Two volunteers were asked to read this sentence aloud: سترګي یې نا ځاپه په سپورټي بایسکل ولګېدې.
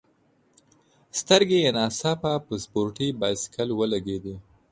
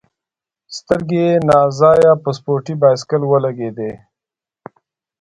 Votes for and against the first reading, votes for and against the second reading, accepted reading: 2, 0, 1, 2, first